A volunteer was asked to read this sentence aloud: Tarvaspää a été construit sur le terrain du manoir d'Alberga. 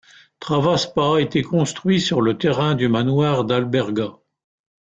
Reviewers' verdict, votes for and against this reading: accepted, 2, 0